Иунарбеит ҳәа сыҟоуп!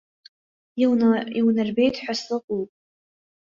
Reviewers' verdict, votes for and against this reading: rejected, 1, 2